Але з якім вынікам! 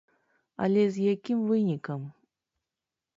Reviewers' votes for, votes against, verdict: 3, 0, accepted